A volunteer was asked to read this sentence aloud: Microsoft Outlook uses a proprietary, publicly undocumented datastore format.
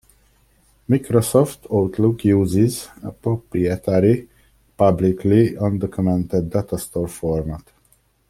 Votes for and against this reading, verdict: 1, 2, rejected